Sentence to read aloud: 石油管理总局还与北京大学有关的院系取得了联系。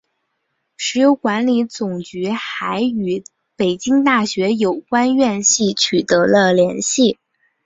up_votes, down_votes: 4, 0